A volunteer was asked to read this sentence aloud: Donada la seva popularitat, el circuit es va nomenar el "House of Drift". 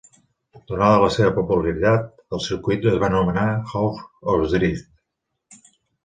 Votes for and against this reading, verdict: 0, 2, rejected